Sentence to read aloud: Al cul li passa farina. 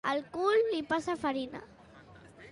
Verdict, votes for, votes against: accepted, 2, 0